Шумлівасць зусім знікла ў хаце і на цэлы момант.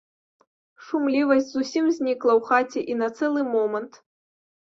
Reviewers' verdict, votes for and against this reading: accepted, 2, 0